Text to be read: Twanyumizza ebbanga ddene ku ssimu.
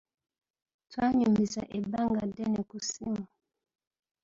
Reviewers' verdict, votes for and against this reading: accepted, 2, 0